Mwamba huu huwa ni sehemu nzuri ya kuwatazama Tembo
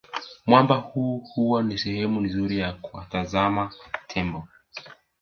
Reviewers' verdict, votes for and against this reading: rejected, 1, 2